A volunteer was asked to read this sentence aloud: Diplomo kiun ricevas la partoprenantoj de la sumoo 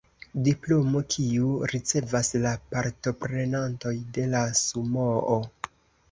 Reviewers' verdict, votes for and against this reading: accepted, 2, 0